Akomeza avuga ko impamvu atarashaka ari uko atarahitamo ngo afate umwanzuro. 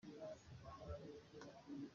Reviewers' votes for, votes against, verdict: 0, 2, rejected